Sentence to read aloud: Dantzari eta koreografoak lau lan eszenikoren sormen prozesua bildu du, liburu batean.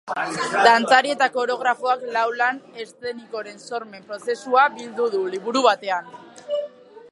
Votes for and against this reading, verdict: 1, 3, rejected